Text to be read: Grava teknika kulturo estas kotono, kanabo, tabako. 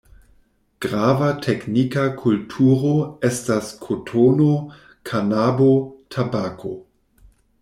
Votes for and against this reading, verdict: 2, 0, accepted